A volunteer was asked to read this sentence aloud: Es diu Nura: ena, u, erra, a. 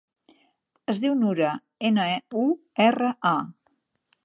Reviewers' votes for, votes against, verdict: 0, 2, rejected